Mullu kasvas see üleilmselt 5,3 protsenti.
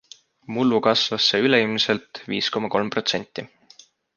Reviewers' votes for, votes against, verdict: 0, 2, rejected